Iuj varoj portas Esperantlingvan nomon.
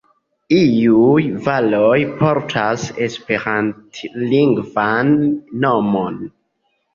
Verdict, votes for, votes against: rejected, 0, 2